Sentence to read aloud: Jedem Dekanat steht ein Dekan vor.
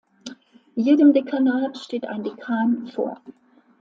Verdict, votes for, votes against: accepted, 3, 0